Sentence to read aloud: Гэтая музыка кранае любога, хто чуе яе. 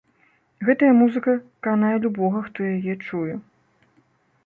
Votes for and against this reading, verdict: 0, 2, rejected